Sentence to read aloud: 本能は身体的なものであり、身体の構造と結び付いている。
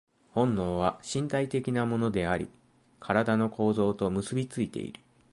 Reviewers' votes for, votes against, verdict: 2, 0, accepted